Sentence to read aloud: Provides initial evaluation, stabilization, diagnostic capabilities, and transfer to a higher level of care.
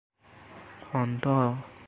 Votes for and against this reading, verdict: 1, 2, rejected